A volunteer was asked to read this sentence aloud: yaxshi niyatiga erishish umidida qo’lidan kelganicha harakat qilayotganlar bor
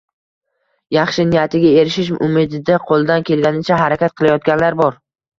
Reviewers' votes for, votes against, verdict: 0, 2, rejected